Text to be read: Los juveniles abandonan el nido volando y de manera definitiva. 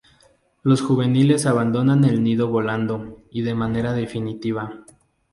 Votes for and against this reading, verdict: 0, 2, rejected